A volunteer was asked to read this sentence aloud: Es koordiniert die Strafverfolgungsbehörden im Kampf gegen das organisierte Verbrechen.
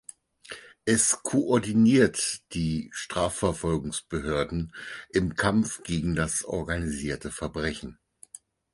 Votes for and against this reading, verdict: 4, 0, accepted